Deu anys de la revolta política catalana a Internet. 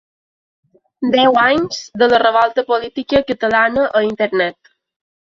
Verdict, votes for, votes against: accepted, 3, 0